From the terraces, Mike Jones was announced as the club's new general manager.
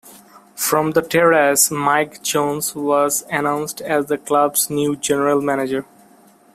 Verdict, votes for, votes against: rejected, 0, 2